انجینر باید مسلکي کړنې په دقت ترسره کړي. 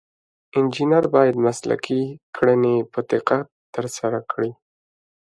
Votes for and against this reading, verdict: 2, 0, accepted